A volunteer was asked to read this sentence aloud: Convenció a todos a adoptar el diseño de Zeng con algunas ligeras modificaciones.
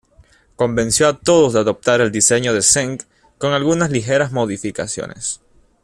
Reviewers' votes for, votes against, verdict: 2, 1, accepted